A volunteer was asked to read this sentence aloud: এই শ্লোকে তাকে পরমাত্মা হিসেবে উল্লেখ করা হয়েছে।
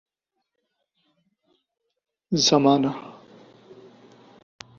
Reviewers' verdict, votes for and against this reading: rejected, 0, 3